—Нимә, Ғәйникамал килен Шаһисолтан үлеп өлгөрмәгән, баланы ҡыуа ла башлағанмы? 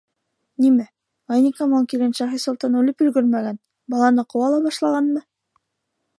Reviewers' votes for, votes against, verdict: 3, 0, accepted